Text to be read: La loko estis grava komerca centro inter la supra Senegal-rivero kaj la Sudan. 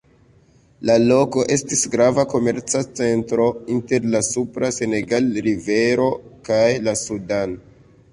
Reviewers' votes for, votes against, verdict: 2, 0, accepted